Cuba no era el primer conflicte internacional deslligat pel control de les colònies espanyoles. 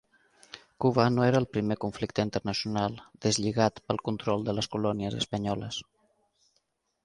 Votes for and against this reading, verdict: 1, 2, rejected